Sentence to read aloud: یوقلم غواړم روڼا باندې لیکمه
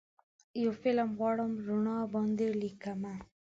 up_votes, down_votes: 2, 4